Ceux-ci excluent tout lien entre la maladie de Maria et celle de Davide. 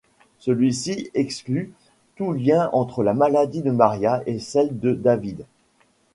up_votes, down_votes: 0, 2